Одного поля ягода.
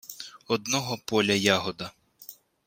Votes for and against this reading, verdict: 2, 0, accepted